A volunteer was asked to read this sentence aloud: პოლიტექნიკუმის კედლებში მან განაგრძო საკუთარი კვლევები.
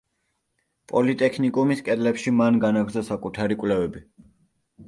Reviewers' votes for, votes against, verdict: 2, 0, accepted